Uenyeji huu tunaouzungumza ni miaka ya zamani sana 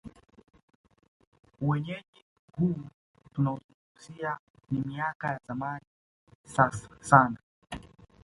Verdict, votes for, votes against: rejected, 1, 2